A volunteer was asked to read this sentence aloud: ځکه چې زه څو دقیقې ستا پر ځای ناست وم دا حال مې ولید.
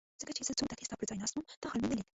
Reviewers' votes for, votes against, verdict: 1, 2, rejected